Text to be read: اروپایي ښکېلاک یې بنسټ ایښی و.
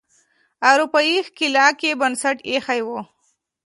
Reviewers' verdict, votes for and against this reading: accepted, 2, 0